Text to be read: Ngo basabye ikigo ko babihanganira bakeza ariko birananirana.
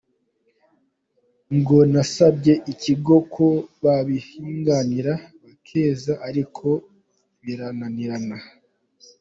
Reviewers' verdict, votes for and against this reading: rejected, 0, 2